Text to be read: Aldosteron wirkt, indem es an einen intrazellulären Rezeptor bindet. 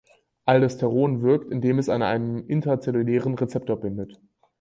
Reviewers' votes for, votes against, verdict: 2, 4, rejected